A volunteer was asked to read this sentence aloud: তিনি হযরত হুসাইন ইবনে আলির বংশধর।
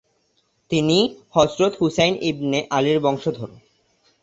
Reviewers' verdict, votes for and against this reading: accepted, 2, 0